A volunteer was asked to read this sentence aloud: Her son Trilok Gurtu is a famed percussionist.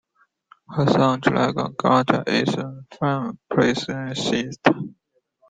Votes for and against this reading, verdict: 1, 2, rejected